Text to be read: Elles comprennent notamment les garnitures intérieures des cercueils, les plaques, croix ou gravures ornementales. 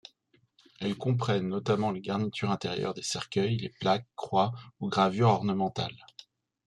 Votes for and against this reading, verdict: 2, 0, accepted